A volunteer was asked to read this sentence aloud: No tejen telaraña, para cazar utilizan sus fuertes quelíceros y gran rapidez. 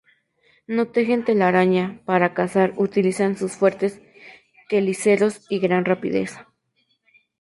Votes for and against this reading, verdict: 0, 2, rejected